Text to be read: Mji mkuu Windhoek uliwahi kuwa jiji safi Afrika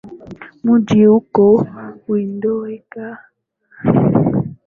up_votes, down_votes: 1, 7